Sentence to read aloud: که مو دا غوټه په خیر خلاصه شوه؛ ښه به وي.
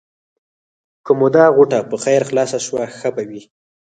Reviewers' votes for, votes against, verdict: 0, 4, rejected